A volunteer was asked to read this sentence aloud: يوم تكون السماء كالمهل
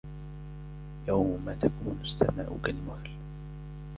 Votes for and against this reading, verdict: 3, 1, accepted